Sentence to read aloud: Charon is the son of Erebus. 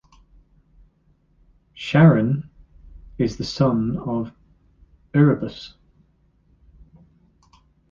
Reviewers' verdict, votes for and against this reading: accepted, 3, 1